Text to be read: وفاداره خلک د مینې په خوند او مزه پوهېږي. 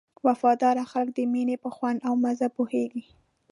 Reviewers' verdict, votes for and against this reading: accepted, 2, 0